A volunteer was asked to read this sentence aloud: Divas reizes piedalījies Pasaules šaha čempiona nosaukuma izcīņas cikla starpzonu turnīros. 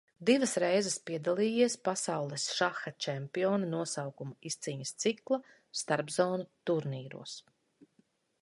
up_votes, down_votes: 2, 0